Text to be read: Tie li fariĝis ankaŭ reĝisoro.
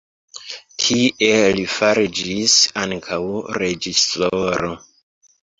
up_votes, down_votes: 2, 3